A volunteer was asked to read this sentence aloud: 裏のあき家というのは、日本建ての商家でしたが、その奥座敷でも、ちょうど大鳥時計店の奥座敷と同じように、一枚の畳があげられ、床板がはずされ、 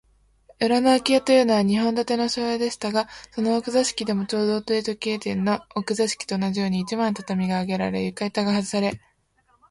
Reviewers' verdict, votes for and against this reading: accepted, 27, 3